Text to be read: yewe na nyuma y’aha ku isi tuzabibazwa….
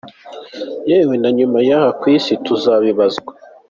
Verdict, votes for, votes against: accepted, 2, 0